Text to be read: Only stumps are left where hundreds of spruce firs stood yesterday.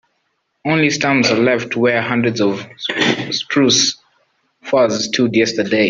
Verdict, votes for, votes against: rejected, 3, 4